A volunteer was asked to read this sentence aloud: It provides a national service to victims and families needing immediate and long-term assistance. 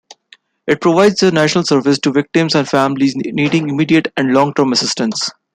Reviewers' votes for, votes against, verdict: 1, 2, rejected